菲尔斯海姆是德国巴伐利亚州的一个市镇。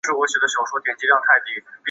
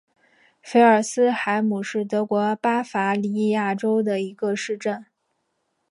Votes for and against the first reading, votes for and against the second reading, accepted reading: 0, 2, 2, 0, second